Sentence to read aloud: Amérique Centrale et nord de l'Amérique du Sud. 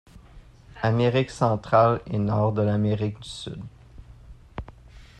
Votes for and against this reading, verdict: 2, 0, accepted